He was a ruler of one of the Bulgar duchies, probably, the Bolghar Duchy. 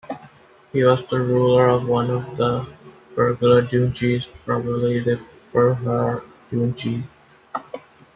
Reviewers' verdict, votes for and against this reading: rejected, 1, 2